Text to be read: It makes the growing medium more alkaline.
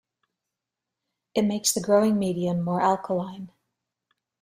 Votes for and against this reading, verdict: 2, 0, accepted